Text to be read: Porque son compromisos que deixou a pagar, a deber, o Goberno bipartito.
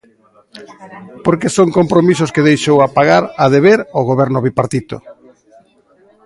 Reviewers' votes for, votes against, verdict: 2, 0, accepted